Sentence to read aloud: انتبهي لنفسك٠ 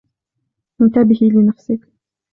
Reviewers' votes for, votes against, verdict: 0, 2, rejected